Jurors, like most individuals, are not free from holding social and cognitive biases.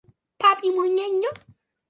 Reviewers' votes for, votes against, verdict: 0, 2, rejected